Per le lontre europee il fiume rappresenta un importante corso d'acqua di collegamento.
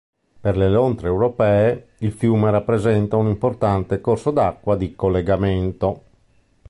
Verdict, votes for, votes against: accepted, 2, 0